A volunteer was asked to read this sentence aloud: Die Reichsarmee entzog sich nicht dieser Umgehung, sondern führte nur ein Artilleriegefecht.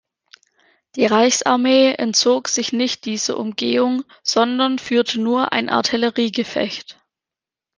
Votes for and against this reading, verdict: 2, 1, accepted